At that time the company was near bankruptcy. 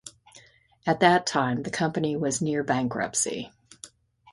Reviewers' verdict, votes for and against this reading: accepted, 2, 0